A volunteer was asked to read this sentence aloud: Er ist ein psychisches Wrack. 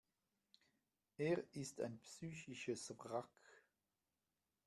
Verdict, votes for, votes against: accepted, 2, 1